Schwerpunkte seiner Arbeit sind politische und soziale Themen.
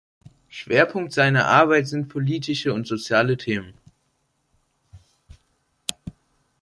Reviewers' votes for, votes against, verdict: 0, 2, rejected